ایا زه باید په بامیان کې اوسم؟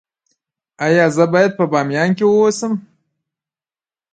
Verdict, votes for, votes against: rejected, 0, 2